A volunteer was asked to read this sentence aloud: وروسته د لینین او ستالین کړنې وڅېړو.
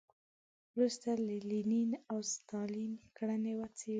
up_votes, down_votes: 0, 2